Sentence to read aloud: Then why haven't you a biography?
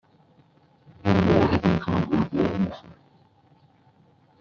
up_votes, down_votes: 0, 2